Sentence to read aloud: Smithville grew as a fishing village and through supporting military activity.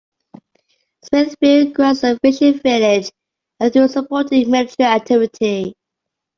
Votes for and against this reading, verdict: 0, 2, rejected